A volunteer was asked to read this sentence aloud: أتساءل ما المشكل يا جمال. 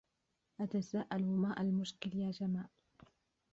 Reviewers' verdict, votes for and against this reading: rejected, 0, 2